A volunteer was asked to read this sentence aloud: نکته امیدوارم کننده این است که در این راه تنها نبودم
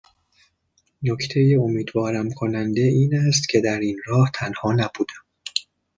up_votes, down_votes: 2, 0